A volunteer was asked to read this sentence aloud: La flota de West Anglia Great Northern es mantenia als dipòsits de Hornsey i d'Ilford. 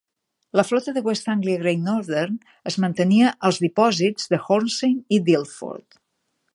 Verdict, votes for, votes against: accepted, 2, 0